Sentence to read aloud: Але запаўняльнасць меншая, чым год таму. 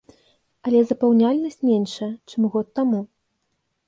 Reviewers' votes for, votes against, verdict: 2, 0, accepted